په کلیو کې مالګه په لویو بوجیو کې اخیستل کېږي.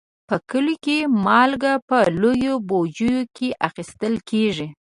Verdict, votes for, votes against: accepted, 2, 0